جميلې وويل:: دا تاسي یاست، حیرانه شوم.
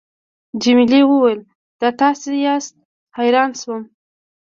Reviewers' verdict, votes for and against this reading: rejected, 1, 2